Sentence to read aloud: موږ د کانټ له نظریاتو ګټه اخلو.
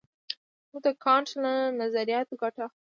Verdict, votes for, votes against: rejected, 1, 2